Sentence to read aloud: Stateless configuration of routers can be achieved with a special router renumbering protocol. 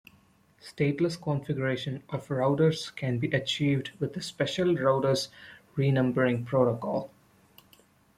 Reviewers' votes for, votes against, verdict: 0, 2, rejected